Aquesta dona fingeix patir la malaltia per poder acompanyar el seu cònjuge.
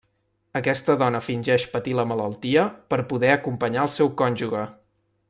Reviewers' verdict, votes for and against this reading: rejected, 0, 2